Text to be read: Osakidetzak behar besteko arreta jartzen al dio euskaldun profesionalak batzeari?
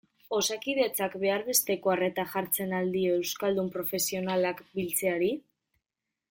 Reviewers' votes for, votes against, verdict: 1, 2, rejected